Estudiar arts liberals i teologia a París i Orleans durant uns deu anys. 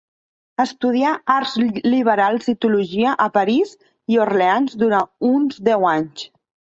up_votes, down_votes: 0, 2